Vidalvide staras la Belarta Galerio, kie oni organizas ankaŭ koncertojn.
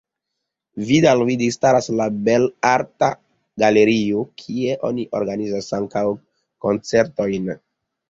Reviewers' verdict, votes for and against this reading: accepted, 2, 1